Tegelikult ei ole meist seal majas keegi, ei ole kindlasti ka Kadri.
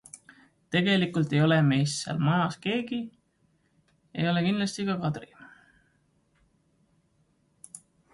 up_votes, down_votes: 2, 1